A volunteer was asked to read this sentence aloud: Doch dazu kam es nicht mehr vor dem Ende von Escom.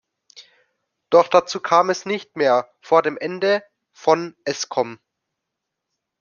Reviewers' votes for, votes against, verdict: 2, 0, accepted